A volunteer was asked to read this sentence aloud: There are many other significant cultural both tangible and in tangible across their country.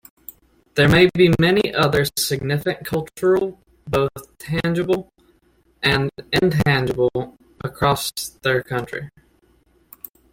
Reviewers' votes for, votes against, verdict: 0, 2, rejected